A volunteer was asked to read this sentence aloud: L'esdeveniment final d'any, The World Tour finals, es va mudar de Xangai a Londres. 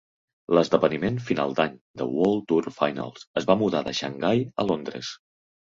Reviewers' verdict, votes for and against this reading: accepted, 2, 0